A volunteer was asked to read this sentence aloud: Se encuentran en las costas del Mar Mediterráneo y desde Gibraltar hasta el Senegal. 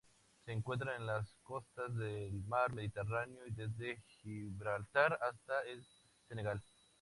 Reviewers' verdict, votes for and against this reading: accepted, 2, 0